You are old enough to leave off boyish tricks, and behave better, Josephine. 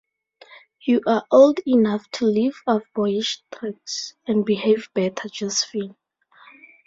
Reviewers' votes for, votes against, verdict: 4, 0, accepted